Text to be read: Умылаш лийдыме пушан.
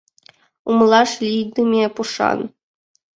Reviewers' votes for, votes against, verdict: 2, 0, accepted